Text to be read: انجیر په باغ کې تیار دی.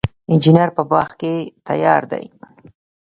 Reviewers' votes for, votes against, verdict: 1, 2, rejected